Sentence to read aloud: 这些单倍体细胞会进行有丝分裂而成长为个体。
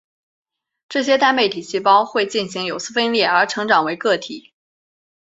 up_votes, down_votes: 2, 1